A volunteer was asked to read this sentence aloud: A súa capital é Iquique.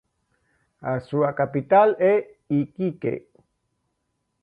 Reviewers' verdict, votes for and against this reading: accepted, 2, 0